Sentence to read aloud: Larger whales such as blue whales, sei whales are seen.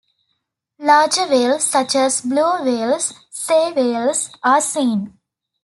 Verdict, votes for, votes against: rejected, 0, 2